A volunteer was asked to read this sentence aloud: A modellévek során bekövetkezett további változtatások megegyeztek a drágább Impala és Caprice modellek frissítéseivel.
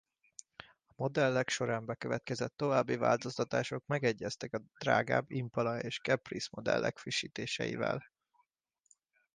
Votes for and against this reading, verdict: 1, 2, rejected